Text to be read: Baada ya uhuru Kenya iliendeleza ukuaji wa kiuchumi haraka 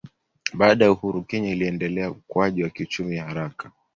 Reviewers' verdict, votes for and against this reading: accepted, 2, 0